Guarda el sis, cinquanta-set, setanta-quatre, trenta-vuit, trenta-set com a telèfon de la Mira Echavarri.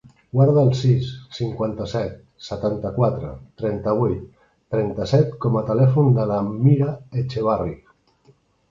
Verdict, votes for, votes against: rejected, 1, 3